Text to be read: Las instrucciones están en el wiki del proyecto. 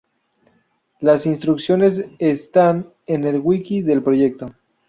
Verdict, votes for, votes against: rejected, 0, 2